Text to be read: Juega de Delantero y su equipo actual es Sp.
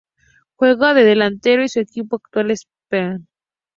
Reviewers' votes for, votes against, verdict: 0, 2, rejected